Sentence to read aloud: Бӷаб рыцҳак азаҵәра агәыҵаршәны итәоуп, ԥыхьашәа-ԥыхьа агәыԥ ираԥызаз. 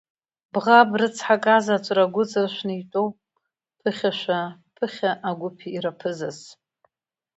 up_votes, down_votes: 0, 2